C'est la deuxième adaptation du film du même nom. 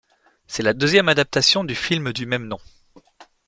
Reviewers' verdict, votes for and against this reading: accepted, 2, 0